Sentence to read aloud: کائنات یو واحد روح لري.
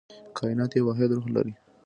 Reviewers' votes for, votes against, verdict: 2, 0, accepted